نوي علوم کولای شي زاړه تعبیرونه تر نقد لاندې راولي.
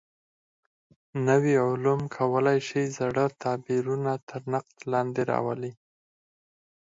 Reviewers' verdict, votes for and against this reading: rejected, 2, 4